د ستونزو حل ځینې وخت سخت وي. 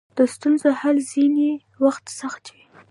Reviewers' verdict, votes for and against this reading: rejected, 1, 2